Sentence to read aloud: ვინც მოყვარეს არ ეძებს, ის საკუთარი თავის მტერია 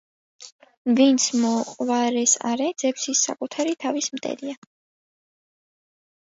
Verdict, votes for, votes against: accepted, 2, 0